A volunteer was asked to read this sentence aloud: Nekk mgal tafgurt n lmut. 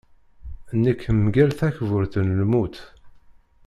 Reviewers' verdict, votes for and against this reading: rejected, 0, 2